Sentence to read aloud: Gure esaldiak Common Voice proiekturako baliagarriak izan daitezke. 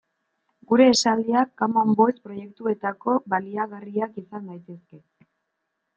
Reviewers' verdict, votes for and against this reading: rejected, 0, 2